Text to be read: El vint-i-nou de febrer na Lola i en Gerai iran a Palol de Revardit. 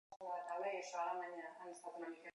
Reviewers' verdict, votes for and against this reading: rejected, 1, 2